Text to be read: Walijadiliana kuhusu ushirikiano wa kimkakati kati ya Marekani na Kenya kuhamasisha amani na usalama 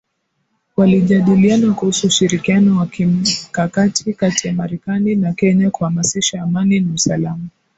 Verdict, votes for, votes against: accepted, 2, 0